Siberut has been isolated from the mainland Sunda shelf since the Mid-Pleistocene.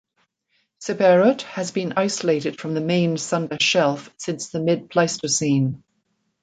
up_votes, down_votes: 0, 2